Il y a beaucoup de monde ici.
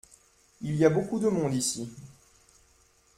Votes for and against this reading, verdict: 2, 0, accepted